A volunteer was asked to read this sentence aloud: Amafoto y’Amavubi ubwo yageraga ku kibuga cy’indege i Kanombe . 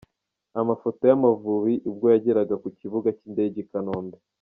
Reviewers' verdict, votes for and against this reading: accepted, 2, 0